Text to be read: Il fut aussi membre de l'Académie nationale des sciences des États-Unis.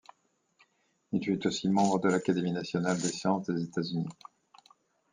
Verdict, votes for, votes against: accepted, 2, 0